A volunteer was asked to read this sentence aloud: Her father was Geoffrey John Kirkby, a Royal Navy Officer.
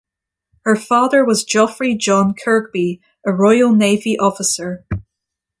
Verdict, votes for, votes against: accepted, 2, 0